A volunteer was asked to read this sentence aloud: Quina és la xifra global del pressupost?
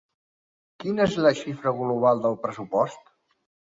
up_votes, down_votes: 4, 0